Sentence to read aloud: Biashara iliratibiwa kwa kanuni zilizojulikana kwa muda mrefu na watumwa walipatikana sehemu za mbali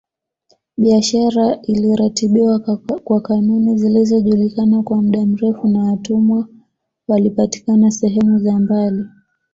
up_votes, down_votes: 2, 0